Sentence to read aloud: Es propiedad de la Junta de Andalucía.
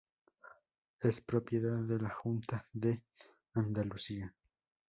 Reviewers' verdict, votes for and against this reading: accepted, 2, 0